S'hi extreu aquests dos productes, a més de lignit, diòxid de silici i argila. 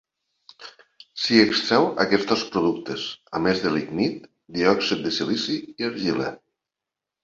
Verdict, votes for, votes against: accepted, 2, 0